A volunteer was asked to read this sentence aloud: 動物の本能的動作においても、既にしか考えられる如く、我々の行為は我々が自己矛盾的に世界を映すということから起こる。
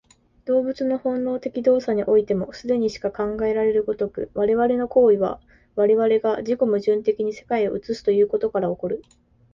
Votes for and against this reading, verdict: 2, 1, accepted